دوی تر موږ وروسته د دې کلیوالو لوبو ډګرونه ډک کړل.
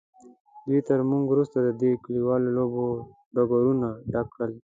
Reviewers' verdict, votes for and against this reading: accepted, 3, 0